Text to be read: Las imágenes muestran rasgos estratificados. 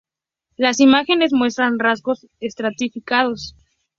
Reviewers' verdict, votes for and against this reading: accepted, 2, 0